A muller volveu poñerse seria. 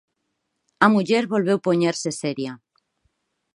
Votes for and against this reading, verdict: 4, 0, accepted